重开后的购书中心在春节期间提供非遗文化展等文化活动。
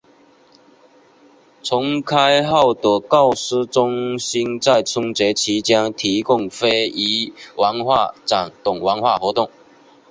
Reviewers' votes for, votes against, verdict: 2, 1, accepted